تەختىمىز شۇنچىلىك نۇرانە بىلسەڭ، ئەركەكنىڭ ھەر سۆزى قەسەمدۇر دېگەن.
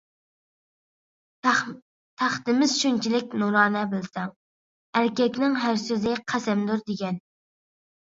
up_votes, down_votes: 2, 1